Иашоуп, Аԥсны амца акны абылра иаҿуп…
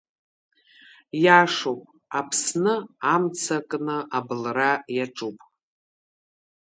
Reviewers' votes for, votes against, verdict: 2, 1, accepted